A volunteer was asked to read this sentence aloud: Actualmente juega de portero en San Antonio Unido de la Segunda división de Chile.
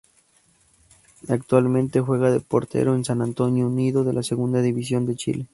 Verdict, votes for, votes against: rejected, 2, 2